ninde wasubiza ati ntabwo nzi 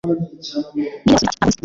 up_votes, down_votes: 0, 2